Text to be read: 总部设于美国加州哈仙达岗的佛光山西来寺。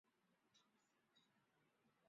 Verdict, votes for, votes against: rejected, 0, 3